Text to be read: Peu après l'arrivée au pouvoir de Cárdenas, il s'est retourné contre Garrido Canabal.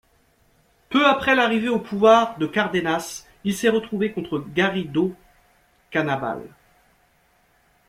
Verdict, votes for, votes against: rejected, 1, 2